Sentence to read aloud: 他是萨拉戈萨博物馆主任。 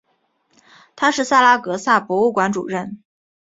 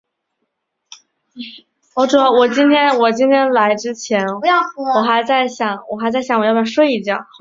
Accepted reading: first